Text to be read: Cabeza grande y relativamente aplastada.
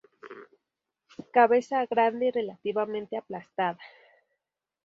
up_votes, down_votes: 6, 4